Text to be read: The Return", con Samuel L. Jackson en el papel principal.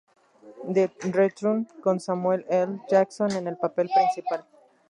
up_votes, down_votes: 0, 2